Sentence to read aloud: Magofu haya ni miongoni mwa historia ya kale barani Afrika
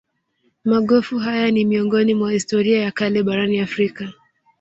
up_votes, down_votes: 0, 2